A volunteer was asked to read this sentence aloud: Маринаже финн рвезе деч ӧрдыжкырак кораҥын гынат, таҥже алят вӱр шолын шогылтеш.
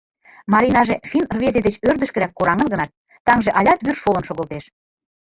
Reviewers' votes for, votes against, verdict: 2, 3, rejected